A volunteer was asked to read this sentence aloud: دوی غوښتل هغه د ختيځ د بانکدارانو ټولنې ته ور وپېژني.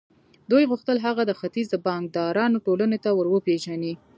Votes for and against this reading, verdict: 2, 0, accepted